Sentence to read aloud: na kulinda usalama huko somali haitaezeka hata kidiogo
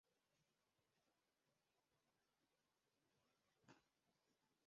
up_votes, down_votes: 0, 2